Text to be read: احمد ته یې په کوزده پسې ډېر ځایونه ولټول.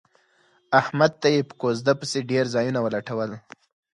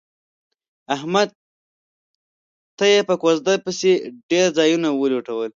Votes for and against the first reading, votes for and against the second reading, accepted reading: 4, 0, 0, 2, first